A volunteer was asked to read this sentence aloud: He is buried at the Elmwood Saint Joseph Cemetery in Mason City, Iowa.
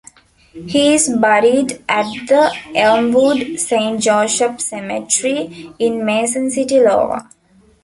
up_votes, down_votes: 0, 2